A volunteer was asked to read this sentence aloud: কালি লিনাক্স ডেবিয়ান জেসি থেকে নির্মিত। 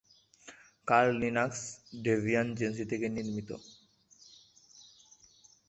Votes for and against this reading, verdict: 0, 2, rejected